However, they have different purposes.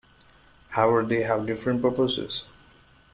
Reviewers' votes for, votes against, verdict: 1, 2, rejected